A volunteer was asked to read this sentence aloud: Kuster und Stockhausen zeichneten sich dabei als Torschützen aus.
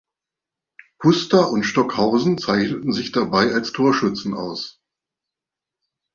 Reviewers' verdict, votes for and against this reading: accepted, 2, 0